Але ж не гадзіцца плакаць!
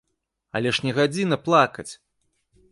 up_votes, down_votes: 0, 2